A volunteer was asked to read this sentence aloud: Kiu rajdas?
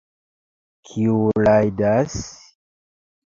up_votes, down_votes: 2, 1